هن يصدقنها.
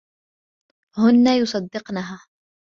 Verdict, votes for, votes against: accepted, 2, 0